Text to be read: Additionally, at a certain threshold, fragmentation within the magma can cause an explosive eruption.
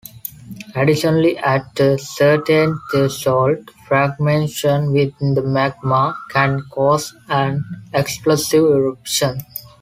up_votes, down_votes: 2, 1